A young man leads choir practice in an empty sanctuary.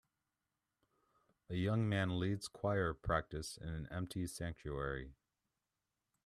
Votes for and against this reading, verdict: 2, 0, accepted